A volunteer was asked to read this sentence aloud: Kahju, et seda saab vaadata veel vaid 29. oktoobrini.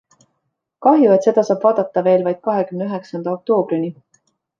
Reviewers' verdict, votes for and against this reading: rejected, 0, 2